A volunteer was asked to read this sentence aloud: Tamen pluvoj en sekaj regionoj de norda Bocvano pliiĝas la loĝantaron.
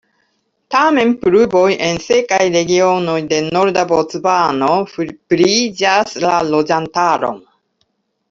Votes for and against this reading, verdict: 2, 1, accepted